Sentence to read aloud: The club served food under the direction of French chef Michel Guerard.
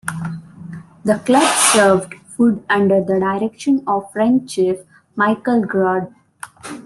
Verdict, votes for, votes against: rejected, 1, 2